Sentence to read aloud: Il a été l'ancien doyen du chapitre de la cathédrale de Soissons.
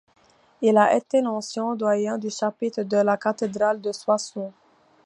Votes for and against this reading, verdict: 2, 0, accepted